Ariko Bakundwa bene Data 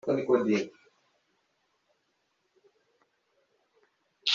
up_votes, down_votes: 0, 2